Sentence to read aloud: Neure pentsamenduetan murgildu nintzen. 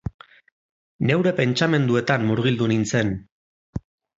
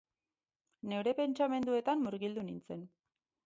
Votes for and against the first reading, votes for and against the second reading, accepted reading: 4, 0, 2, 2, first